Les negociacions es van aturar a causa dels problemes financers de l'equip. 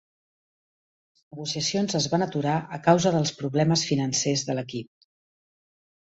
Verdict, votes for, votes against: rejected, 1, 2